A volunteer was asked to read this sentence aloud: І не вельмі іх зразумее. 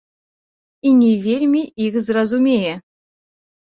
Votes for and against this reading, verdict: 0, 2, rejected